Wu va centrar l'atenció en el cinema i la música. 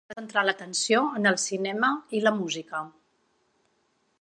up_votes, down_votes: 1, 2